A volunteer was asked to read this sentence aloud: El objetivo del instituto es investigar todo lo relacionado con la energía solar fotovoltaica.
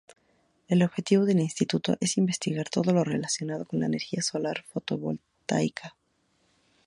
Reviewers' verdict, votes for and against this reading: rejected, 2, 4